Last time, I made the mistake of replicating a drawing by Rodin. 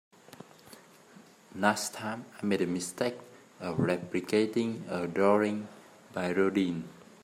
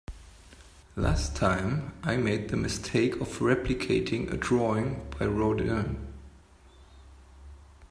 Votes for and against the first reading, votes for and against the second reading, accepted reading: 0, 2, 2, 0, second